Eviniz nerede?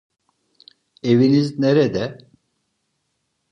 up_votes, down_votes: 2, 0